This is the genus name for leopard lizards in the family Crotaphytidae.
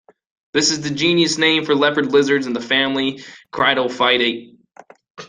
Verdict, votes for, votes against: rejected, 1, 2